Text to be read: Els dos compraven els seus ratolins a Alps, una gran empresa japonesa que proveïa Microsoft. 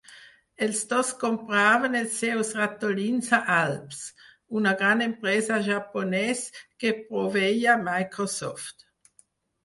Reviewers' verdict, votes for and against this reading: rejected, 2, 4